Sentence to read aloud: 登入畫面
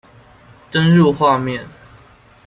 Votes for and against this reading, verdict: 2, 0, accepted